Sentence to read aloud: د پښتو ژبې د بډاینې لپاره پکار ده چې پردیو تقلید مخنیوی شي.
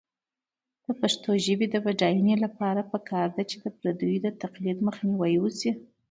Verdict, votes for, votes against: accepted, 2, 1